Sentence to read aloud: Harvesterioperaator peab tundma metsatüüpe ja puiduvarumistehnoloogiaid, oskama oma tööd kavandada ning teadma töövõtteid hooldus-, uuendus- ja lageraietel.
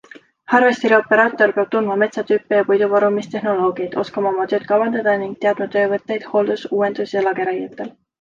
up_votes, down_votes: 2, 0